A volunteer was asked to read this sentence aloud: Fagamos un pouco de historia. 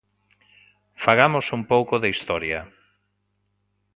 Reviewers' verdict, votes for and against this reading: accepted, 2, 0